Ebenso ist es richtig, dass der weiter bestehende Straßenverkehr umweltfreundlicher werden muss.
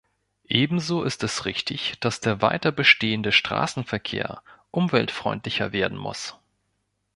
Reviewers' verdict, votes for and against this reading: accepted, 2, 0